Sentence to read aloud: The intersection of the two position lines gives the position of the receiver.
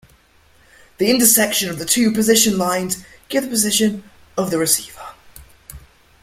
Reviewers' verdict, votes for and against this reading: rejected, 1, 2